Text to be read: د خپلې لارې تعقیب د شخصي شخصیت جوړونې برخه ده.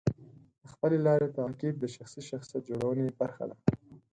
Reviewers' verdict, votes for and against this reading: accepted, 4, 0